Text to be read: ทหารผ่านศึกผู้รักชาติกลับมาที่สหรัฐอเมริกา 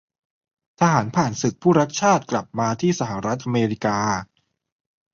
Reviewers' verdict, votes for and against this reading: accepted, 2, 0